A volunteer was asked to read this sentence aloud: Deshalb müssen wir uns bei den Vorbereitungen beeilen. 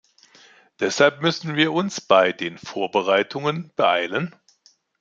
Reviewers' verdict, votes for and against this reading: accepted, 2, 0